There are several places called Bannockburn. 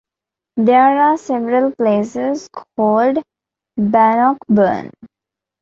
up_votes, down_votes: 2, 0